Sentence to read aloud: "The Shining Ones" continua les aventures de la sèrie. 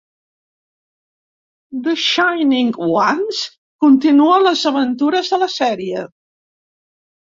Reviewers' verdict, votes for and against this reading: accepted, 3, 0